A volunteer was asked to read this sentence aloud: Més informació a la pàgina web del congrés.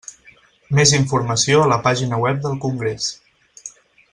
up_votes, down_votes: 6, 0